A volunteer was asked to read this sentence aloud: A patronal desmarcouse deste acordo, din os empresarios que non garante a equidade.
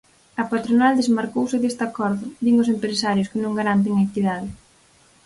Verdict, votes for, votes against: rejected, 2, 4